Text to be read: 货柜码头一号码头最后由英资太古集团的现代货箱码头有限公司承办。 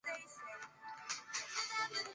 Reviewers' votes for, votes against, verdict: 2, 3, rejected